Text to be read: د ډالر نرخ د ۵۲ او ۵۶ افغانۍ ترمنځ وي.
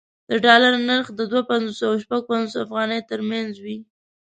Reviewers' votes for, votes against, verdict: 0, 2, rejected